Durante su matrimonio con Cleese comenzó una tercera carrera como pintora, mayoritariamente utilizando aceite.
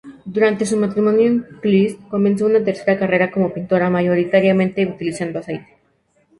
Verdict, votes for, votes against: rejected, 0, 2